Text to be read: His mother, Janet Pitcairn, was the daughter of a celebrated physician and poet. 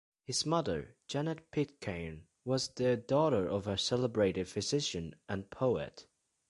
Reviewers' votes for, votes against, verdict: 3, 0, accepted